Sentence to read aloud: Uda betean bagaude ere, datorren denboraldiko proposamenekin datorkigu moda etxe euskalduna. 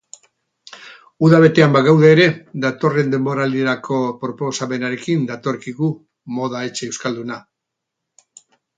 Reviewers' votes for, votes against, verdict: 4, 4, rejected